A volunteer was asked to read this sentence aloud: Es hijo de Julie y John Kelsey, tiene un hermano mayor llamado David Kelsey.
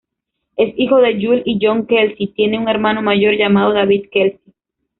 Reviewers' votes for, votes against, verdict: 2, 1, accepted